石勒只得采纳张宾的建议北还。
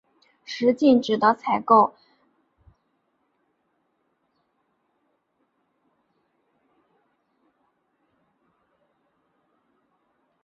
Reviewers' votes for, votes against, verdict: 0, 2, rejected